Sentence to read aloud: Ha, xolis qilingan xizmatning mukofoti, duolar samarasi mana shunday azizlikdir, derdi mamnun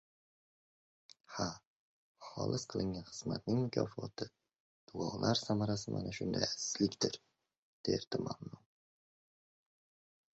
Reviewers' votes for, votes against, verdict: 0, 2, rejected